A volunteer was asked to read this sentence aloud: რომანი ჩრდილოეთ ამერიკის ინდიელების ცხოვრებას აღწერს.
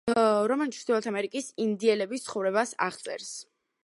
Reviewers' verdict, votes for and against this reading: accepted, 3, 0